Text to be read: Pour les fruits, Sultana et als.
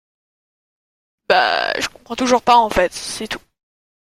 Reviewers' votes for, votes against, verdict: 0, 2, rejected